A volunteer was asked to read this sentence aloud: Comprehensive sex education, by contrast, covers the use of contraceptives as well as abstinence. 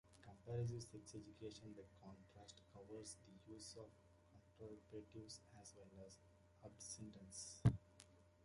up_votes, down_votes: 0, 3